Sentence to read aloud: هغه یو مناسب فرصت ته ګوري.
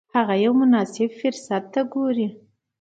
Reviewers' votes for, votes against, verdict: 2, 0, accepted